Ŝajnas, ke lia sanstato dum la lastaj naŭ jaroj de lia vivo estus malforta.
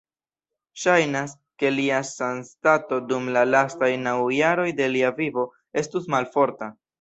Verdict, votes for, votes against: accepted, 2, 0